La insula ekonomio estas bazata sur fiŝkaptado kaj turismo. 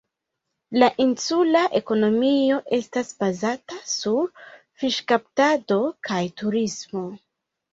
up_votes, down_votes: 2, 0